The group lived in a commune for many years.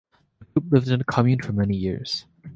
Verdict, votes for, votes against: rejected, 1, 2